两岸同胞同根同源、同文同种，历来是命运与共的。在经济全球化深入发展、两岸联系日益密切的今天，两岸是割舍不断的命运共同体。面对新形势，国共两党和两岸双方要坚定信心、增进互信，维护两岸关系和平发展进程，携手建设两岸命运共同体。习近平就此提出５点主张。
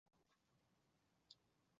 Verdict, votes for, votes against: rejected, 0, 2